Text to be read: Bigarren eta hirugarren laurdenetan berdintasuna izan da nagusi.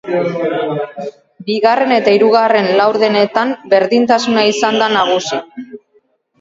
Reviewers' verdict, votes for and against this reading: rejected, 2, 4